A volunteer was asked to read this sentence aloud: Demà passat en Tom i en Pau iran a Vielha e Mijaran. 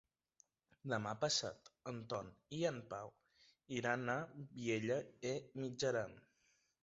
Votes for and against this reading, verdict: 2, 0, accepted